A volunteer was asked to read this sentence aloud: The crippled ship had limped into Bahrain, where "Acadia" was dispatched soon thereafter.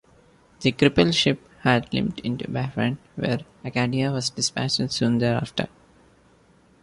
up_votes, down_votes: 1, 2